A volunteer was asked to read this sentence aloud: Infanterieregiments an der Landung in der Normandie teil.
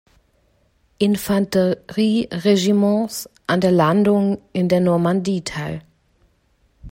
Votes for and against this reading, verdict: 1, 2, rejected